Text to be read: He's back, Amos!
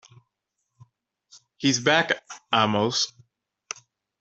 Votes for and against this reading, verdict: 2, 0, accepted